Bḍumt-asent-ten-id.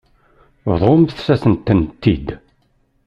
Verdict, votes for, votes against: rejected, 1, 2